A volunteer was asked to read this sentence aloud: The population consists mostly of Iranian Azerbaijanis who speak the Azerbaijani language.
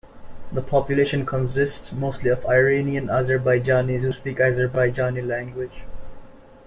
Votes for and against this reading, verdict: 1, 2, rejected